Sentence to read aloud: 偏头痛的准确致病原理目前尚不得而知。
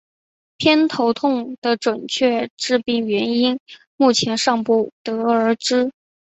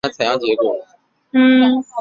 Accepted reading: first